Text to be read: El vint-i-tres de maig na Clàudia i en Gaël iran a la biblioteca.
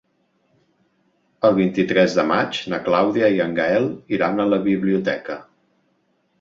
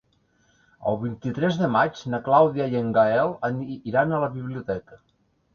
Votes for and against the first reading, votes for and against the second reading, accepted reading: 3, 0, 1, 2, first